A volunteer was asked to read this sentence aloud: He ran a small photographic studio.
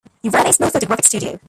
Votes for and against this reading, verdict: 0, 3, rejected